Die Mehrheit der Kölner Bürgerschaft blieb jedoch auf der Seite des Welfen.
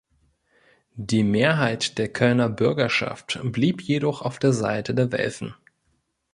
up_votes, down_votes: 1, 2